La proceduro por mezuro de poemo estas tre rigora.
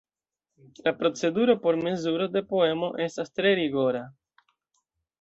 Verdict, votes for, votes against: accepted, 2, 0